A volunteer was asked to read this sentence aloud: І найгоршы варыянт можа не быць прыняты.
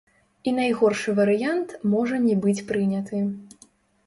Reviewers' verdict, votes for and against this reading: rejected, 0, 2